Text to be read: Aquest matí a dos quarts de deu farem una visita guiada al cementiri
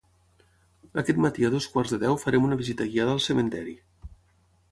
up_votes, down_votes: 3, 3